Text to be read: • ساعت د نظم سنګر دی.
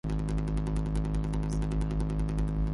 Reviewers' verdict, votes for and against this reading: rejected, 0, 2